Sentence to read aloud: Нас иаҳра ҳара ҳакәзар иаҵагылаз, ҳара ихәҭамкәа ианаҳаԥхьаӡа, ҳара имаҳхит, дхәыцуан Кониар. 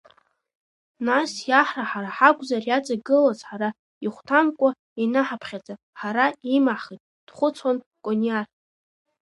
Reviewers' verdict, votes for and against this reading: accepted, 2, 0